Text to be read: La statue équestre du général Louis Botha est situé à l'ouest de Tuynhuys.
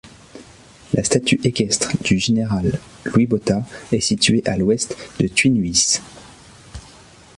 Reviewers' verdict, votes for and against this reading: accepted, 2, 0